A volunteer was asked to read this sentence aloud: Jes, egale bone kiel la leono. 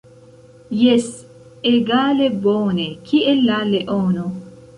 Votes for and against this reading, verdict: 2, 1, accepted